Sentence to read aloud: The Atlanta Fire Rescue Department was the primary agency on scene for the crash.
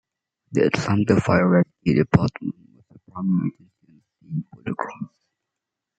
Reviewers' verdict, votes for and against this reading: rejected, 0, 2